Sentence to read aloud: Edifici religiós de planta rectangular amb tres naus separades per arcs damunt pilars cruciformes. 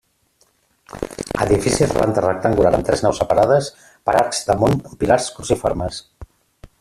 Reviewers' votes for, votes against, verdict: 0, 2, rejected